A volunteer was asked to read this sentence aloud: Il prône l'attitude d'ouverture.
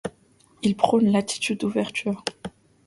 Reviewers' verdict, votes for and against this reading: accepted, 2, 0